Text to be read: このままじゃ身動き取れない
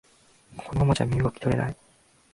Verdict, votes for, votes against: rejected, 1, 2